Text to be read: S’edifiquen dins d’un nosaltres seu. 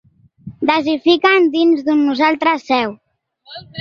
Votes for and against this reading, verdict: 0, 2, rejected